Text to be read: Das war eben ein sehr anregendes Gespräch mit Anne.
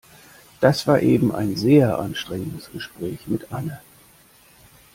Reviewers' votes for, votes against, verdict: 0, 2, rejected